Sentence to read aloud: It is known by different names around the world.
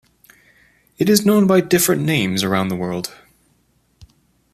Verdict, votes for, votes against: accepted, 2, 0